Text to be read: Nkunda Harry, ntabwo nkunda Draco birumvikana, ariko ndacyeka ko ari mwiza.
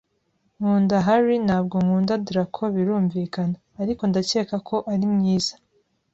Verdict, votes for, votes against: accepted, 2, 0